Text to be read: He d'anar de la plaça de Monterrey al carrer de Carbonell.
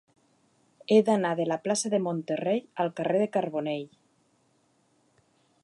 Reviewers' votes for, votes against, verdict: 2, 0, accepted